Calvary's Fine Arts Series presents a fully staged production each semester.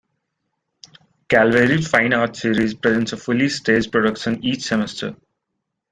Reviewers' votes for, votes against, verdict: 2, 0, accepted